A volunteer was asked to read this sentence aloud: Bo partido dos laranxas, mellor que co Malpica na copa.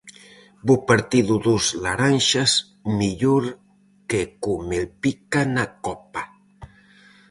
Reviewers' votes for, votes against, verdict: 0, 4, rejected